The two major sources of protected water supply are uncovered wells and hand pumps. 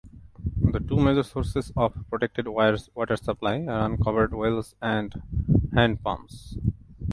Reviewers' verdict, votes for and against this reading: rejected, 0, 2